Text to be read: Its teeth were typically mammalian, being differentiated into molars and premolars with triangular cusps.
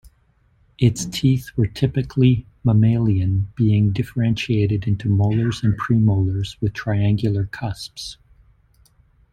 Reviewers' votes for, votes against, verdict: 2, 0, accepted